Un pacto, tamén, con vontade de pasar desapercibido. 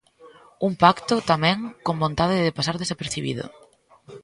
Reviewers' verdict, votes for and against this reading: accepted, 2, 0